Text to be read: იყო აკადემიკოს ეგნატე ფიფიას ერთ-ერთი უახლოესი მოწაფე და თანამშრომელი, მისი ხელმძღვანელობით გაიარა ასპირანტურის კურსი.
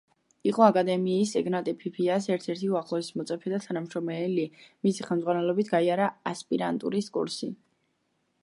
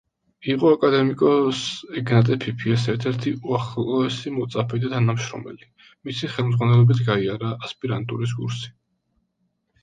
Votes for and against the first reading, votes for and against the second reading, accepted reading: 0, 2, 2, 0, second